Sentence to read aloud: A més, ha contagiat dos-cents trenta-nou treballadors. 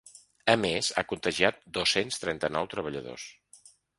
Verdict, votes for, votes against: accepted, 4, 0